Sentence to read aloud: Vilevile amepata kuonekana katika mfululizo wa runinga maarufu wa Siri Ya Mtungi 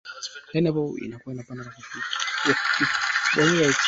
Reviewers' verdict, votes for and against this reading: rejected, 1, 2